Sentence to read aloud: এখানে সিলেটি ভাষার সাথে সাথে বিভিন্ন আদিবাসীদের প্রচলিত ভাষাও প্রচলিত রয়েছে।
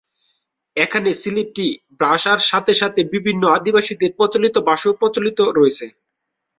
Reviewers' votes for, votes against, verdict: 2, 0, accepted